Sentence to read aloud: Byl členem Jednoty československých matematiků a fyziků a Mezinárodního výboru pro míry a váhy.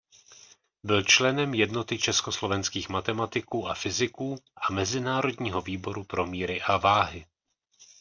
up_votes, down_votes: 1, 2